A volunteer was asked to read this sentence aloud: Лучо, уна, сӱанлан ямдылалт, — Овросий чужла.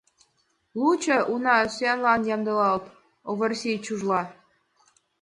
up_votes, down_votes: 2, 1